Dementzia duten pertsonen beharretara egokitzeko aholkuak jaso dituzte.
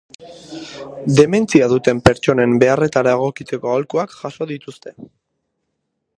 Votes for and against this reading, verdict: 2, 2, rejected